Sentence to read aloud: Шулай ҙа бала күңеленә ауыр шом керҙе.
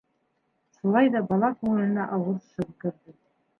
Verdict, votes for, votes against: rejected, 2, 3